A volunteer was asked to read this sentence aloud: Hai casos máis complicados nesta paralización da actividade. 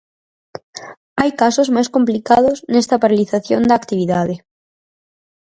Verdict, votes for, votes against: accepted, 4, 0